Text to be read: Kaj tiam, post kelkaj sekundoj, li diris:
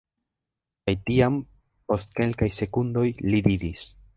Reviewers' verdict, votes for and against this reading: rejected, 0, 2